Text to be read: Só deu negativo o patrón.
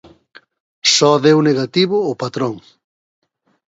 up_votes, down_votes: 3, 0